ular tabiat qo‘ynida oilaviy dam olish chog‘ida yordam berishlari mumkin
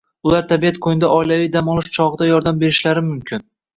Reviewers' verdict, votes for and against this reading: rejected, 0, 2